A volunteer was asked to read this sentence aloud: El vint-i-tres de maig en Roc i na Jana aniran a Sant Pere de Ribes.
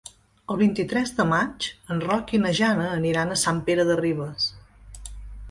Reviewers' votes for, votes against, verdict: 3, 0, accepted